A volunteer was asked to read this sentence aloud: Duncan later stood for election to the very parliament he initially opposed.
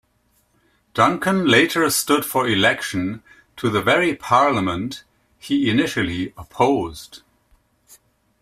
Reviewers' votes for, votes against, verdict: 2, 0, accepted